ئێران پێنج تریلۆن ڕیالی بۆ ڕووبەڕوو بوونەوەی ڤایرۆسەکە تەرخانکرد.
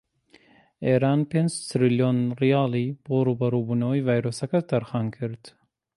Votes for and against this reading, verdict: 2, 1, accepted